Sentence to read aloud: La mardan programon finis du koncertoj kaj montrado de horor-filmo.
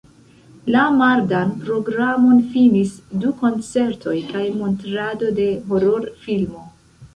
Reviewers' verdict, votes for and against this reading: rejected, 1, 2